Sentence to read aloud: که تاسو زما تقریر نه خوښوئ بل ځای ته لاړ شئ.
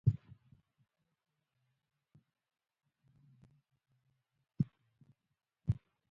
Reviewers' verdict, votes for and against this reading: rejected, 1, 2